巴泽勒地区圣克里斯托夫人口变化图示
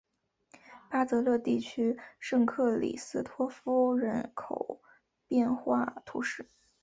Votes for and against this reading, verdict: 4, 1, accepted